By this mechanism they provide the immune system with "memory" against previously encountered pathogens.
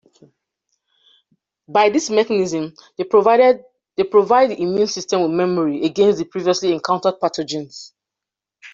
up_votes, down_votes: 0, 2